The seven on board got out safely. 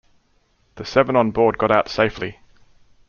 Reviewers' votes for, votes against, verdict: 2, 0, accepted